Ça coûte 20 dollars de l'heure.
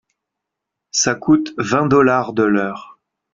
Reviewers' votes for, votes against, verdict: 0, 2, rejected